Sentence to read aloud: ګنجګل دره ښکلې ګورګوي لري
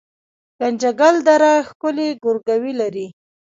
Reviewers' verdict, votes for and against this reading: rejected, 0, 2